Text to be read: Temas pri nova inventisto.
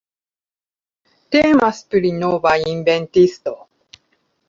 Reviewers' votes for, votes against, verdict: 2, 0, accepted